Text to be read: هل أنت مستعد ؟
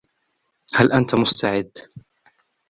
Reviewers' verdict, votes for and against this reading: accepted, 2, 0